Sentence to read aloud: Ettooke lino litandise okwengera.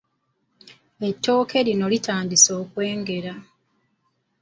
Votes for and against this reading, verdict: 2, 0, accepted